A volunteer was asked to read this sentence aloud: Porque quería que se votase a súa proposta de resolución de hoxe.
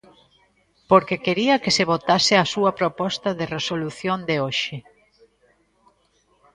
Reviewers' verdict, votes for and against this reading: accepted, 2, 0